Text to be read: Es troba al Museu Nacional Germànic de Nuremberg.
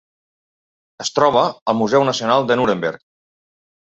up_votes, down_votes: 1, 2